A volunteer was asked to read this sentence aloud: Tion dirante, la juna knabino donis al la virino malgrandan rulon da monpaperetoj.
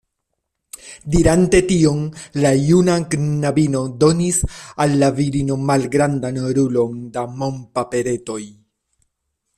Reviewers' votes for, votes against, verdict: 0, 2, rejected